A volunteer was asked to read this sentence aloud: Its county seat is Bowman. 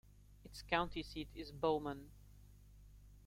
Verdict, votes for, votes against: accepted, 2, 1